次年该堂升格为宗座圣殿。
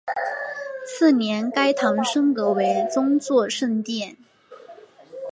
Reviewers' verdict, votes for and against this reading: accepted, 3, 0